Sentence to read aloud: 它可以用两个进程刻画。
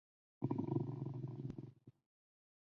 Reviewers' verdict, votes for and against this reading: rejected, 0, 2